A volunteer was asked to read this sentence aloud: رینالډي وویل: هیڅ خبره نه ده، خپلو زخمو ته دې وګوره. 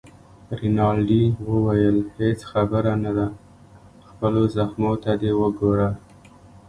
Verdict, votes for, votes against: accepted, 2, 0